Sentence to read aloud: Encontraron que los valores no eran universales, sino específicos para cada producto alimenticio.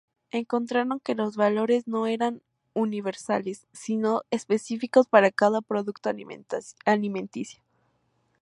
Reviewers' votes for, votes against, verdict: 0, 2, rejected